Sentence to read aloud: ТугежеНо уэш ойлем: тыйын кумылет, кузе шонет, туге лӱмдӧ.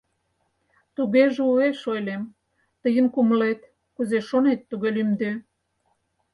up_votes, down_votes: 0, 4